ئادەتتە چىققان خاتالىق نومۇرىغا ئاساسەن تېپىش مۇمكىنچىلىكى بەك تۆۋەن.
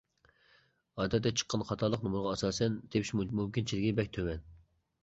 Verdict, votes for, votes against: accepted, 2, 1